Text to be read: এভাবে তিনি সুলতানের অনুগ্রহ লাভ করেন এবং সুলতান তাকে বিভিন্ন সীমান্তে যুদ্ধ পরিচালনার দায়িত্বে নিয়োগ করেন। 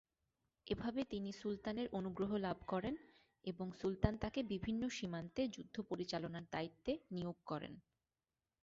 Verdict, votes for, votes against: accepted, 4, 0